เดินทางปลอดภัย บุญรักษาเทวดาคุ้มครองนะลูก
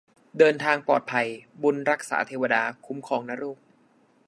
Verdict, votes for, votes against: accepted, 2, 0